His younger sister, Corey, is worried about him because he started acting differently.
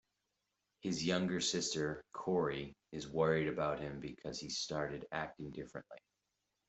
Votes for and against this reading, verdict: 2, 0, accepted